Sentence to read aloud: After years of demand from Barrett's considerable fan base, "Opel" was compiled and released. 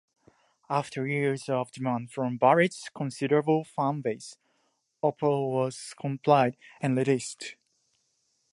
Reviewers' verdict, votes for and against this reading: rejected, 1, 2